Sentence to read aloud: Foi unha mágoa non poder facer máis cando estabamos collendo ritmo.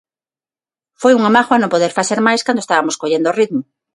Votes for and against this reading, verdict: 3, 6, rejected